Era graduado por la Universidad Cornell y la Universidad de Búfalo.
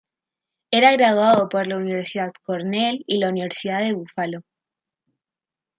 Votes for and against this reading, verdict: 2, 1, accepted